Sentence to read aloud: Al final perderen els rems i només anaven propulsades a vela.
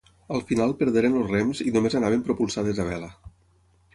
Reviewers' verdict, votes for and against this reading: rejected, 3, 6